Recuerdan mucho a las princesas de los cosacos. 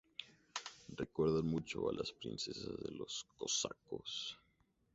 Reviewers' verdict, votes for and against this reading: rejected, 0, 2